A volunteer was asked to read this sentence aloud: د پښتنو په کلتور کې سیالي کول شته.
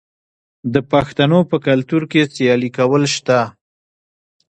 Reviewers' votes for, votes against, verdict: 2, 0, accepted